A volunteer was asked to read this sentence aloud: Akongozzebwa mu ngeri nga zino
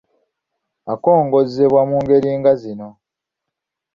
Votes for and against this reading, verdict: 2, 0, accepted